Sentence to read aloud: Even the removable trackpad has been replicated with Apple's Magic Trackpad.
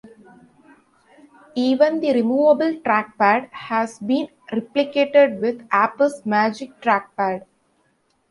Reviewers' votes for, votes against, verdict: 1, 2, rejected